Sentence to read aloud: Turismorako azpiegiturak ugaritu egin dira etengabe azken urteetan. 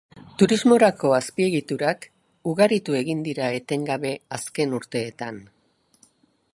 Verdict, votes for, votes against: accepted, 2, 0